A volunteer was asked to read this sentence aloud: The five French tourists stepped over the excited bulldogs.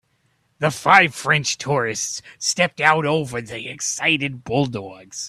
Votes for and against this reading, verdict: 0, 2, rejected